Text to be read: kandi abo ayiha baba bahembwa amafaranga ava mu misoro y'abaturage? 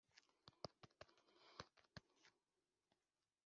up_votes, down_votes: 2, 1